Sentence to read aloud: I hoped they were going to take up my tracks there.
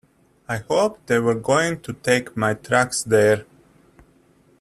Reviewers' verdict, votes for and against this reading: rejected, 1, 2